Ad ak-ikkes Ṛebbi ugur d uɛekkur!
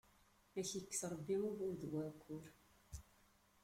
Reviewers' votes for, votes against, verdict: 2, 1, accepted